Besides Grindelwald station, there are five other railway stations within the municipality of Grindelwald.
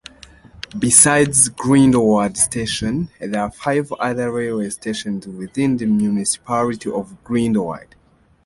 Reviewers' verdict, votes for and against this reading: rejected, 0, 2